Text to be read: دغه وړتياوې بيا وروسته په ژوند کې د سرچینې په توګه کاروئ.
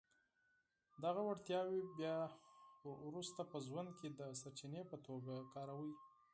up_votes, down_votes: 4, 0